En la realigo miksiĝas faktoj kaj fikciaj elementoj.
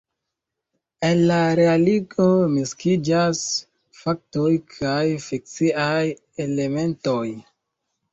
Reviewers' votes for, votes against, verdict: 1, 2, rejected